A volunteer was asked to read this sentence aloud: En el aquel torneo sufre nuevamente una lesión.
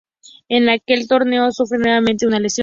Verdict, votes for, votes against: rejected, 2, 2